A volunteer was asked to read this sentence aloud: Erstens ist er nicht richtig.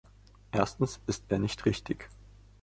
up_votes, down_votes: 2, 0